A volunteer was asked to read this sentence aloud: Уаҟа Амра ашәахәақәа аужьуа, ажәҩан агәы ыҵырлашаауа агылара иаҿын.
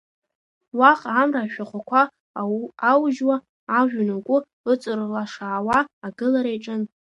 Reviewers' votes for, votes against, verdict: 0, 2, rejected